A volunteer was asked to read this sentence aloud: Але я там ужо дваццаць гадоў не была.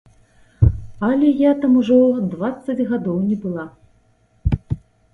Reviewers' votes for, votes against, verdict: 2, 0, accepted